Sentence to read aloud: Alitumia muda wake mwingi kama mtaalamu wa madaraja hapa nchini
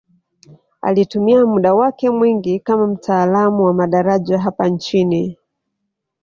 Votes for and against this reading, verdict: 2, 0, accepted